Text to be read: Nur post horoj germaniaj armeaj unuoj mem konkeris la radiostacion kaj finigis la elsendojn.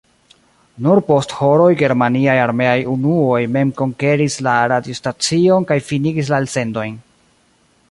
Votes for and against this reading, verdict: 0, 2, rejected